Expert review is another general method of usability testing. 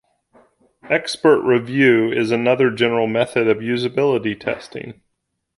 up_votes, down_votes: 2, 0